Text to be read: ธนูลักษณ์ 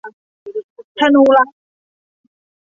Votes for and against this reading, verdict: 0, 2, rejected